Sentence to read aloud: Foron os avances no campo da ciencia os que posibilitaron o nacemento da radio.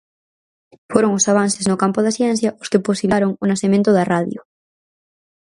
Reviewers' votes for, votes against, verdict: 0, 4, rejected